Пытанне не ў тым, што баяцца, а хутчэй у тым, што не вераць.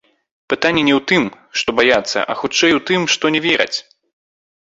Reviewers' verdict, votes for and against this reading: rejected, 0, 2